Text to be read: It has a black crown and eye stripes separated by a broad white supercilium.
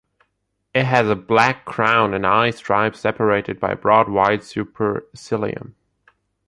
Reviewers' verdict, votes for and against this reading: accepted, 2, 0